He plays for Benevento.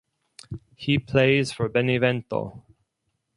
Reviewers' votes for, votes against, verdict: 4, 0, accepted